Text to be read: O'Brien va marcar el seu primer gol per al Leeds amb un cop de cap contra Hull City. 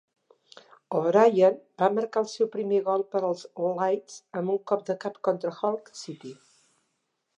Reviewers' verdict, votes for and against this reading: accepted, 2, 0